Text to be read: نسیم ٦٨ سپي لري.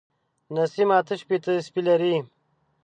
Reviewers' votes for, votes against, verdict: 0, 2, rejected